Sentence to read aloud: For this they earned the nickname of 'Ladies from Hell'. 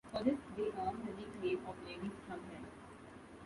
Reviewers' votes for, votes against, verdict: 1, 2, rejected